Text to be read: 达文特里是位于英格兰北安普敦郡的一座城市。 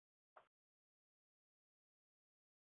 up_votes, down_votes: 2, 0